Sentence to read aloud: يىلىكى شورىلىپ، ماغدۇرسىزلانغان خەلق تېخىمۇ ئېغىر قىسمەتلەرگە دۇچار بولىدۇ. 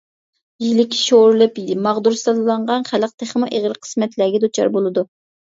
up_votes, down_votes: 0, 2